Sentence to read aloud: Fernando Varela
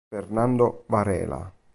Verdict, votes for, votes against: rejected, 0, 2